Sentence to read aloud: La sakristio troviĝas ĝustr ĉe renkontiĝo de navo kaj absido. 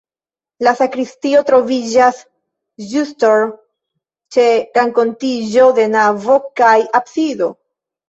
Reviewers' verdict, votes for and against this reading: rejected, 2, 3